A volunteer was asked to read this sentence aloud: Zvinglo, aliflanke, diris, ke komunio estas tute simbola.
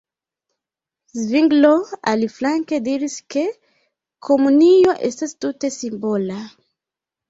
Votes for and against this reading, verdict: 2, 1, accepted